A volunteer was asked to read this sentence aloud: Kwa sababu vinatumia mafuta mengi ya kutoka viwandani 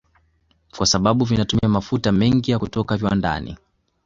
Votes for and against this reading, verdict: 2, 0, accepted